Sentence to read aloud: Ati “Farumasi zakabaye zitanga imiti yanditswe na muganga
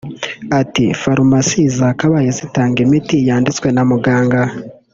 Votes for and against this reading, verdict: 1, 2, rejected